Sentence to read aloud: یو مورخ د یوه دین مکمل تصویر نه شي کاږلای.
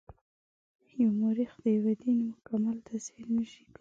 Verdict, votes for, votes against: rejected, 1, 2